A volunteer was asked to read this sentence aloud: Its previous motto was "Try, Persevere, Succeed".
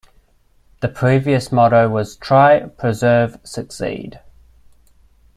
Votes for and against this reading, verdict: 0, 2, rejected